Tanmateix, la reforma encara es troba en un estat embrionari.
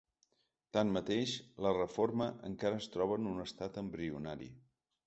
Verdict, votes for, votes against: accepted, 3, 0